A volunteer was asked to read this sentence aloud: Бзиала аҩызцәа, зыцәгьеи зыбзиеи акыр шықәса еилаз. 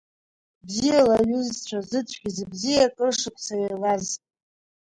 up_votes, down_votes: 1, 2